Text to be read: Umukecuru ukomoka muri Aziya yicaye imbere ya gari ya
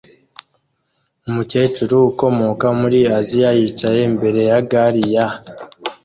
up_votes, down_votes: 2, 0